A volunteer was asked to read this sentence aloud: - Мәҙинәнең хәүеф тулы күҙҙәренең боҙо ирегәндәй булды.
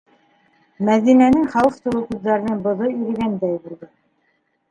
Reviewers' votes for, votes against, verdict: 1, 2, rejected